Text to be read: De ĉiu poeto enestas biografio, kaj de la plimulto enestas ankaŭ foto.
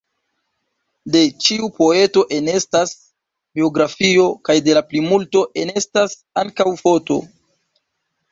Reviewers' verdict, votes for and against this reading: accepted, 2, 0